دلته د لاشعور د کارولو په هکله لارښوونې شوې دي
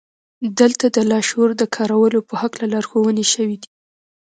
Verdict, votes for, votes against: accepted, 2, 0